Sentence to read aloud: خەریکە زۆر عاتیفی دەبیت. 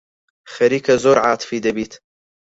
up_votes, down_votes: 4, 2